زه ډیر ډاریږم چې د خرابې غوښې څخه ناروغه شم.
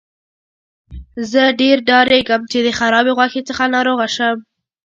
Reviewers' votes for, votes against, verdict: 2, 0, accepted